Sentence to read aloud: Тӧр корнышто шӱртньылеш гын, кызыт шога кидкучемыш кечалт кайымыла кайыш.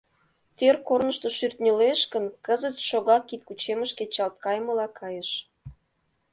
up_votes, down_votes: 2, 0